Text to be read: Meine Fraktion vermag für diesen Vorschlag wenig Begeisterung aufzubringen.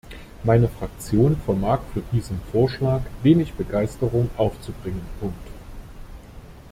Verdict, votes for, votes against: rejected, 0, 2